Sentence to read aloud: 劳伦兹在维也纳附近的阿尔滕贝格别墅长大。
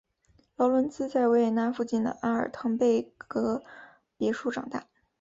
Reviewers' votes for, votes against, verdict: 2, 0, accepted